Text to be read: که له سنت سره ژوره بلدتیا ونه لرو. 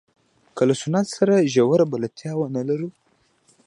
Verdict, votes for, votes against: accepted, 2, 0